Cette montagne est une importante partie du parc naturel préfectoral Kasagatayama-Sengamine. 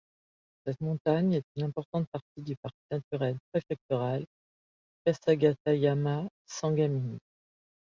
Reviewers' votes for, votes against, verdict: 1, 2, rejected